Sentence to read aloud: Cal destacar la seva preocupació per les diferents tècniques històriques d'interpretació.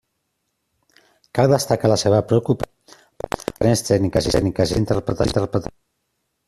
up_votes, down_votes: 0, 2